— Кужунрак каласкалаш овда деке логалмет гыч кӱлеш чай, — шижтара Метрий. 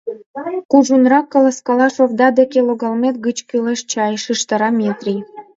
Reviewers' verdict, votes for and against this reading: rejected, 1, 2